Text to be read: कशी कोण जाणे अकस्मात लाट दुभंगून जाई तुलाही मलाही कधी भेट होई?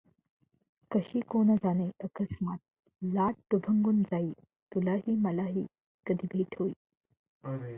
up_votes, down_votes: 2, 0